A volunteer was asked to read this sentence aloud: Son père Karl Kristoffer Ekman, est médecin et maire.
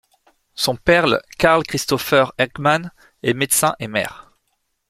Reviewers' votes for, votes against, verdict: 0, 2, rejected